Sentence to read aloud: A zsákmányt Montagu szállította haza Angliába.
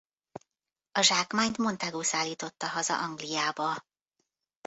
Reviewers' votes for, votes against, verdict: 2, 0, accepted